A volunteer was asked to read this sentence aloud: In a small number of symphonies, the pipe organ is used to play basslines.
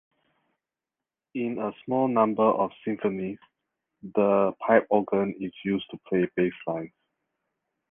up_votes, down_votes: 2, 1